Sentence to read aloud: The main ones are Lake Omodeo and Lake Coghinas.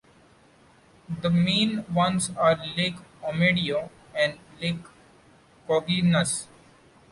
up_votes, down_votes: 0, 2